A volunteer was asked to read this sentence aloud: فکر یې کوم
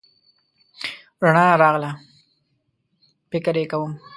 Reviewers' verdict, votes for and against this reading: rejected, 1, 2